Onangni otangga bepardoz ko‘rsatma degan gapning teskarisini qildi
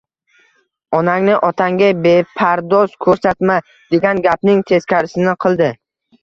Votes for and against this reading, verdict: 2, 0, accepted